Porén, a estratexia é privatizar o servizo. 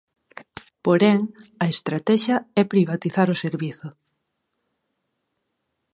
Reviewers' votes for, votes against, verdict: 4, 0, accepted